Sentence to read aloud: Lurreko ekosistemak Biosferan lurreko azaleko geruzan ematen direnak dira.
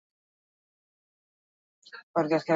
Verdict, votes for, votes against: rejected, 0, 4